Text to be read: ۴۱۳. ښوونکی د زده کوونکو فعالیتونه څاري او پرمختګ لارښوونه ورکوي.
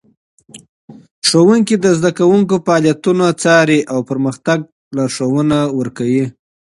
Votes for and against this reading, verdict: 0, 2, rejected